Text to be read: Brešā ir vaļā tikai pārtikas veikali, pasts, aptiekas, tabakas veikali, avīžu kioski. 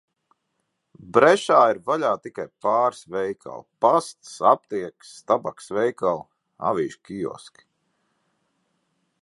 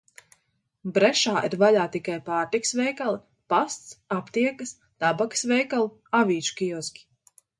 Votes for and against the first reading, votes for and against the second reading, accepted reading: 0, 2, 2, 0, second